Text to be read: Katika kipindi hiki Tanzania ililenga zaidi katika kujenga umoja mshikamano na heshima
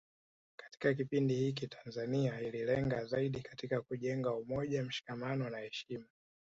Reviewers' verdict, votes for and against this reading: rejected, 1, 2